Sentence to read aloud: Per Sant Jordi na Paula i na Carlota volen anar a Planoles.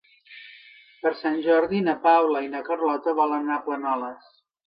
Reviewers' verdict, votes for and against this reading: accepted, 2, 1